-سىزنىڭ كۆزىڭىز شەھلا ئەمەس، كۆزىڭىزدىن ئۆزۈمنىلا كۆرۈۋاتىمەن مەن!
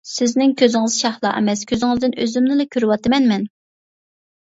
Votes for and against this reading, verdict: 2, 0, accepted